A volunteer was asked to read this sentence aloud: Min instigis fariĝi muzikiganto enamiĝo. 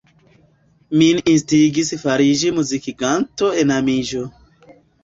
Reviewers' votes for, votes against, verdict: 2, 0, accepted